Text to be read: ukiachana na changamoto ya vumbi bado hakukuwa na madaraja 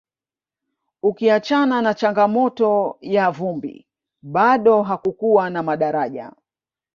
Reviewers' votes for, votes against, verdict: 2, 1, accepted